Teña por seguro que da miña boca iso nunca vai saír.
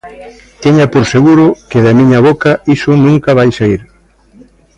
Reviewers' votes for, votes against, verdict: 2, 0, accepted